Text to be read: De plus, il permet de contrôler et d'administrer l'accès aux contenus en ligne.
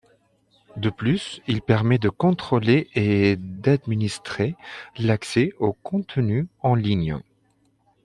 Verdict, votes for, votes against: accepted, 2, 1